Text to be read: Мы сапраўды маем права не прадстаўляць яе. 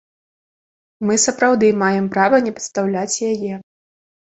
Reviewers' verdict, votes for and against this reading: rejected, 1, 2